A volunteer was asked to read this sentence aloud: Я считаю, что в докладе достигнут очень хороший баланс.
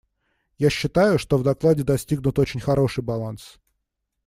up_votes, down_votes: 2, 0